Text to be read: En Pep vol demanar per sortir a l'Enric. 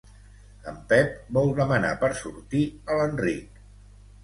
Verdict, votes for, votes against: accepted, 2, 0